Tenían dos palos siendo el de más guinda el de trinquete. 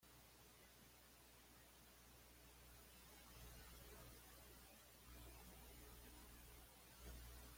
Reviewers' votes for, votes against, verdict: 1, 2, rejected